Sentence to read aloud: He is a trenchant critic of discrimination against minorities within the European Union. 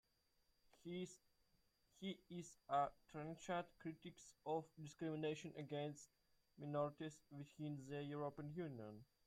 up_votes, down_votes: 0, 2